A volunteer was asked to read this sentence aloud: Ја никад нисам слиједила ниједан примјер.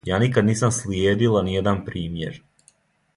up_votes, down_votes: 2, 0